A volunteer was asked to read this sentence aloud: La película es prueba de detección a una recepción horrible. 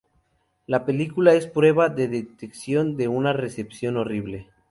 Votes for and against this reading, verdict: 0, 2, rejected